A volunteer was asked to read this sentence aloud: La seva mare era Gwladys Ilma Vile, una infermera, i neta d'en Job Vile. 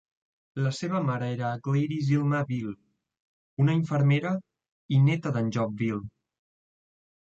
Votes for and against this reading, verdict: 1, 2, rejected